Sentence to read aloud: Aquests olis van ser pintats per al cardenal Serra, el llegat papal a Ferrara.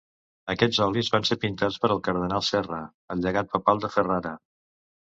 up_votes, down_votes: 1, 2